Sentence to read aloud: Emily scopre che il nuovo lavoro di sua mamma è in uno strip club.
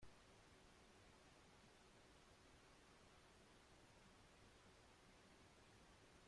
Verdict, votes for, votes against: rejected, 0, 2